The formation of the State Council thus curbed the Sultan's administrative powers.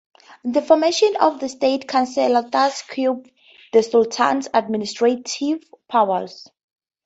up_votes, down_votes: 0, 2